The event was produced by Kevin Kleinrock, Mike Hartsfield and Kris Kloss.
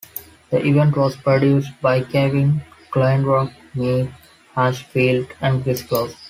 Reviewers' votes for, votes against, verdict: 2, 4, rejected